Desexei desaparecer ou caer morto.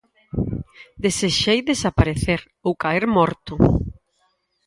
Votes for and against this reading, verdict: 4, 0, accepted